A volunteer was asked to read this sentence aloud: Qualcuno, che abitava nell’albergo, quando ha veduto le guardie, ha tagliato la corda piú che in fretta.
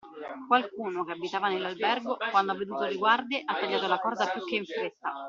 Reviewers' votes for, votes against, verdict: 1, 2, rejected